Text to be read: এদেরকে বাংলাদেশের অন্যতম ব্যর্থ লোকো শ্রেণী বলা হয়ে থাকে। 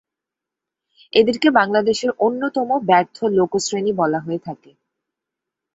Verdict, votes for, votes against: accepted, 2, 0